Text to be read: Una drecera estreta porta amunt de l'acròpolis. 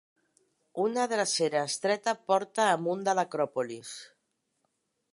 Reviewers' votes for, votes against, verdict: 2, 1, accepted